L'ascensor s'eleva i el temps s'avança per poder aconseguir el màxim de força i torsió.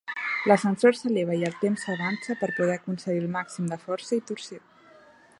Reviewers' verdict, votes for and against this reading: rejected, 1, 2